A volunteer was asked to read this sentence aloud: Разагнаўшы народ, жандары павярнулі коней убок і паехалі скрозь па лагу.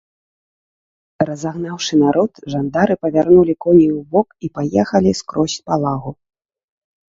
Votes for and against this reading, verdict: 0, 2, rejected